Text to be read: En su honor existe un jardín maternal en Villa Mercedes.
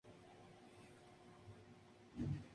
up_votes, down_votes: 0, 2